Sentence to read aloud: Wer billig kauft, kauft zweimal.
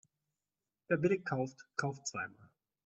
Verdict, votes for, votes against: accepted, 2, 0